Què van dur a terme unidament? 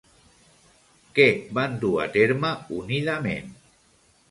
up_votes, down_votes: 2, 0